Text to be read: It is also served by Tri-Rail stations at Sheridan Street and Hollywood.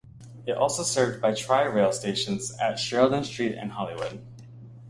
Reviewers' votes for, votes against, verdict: 0, 2, rejected